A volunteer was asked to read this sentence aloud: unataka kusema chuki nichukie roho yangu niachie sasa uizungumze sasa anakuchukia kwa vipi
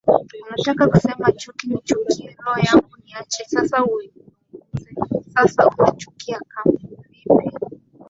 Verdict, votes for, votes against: rejected, 2, 4